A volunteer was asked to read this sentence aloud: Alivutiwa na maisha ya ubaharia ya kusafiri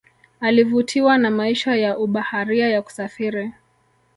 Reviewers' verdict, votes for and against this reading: rejected, 0, 2